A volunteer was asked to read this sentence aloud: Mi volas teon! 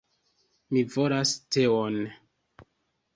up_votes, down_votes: 2, 0